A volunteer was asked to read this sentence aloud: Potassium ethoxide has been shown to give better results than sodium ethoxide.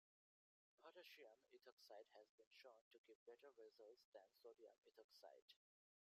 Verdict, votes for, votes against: rejected, 0, 2